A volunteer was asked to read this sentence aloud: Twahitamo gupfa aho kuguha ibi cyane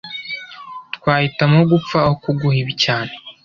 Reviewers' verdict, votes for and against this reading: accepted, 2, 0